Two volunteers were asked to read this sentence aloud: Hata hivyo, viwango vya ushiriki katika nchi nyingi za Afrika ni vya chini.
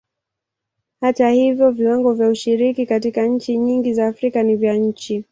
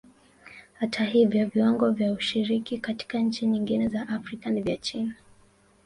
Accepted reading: first